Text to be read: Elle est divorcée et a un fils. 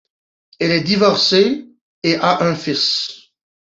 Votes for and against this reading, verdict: 2, 1, accepted